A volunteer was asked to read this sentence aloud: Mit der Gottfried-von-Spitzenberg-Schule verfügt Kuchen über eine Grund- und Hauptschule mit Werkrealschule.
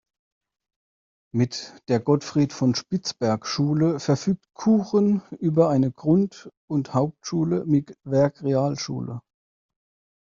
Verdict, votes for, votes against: rejected, 0, 2